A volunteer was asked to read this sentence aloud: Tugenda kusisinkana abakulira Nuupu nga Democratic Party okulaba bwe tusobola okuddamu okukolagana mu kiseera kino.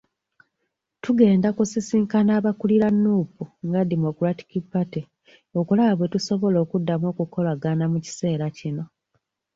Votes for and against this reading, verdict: 2, 1, accepted